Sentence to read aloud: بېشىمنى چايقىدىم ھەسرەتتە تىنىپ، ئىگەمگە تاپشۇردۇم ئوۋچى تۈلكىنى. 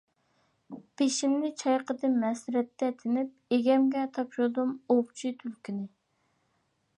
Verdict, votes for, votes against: accepted, 2, 1